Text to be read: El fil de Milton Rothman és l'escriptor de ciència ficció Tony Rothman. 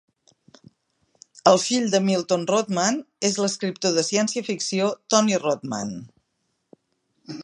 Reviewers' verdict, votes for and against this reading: accepted, 2, 0